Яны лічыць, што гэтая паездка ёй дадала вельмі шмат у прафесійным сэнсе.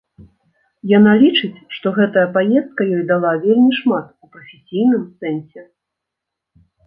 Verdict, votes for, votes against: rejected, 1, 2